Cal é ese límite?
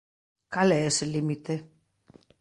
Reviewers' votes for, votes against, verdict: 2, 0, accepted